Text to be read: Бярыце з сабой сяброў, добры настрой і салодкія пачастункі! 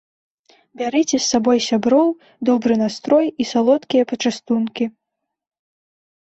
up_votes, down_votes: 3, 0